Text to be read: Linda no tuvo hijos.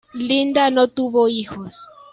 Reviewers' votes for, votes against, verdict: 2, 0, accepted